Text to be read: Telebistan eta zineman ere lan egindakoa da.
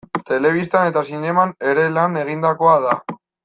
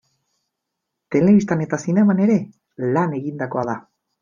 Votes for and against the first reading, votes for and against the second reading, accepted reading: 1, 2, 2, 0, second